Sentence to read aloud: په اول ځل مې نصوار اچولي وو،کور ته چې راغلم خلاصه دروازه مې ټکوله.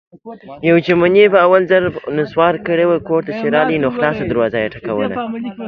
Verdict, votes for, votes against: rejected, 1, 2